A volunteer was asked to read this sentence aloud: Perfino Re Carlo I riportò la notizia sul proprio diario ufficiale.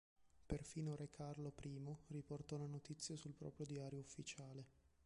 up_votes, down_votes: 2, 1